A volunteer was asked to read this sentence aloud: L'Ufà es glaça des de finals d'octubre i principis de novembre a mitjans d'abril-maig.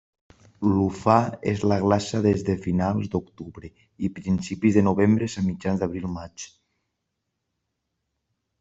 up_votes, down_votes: 0, 2